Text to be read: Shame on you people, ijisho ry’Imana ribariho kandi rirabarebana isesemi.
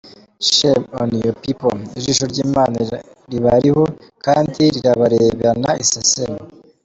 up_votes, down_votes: 2, 0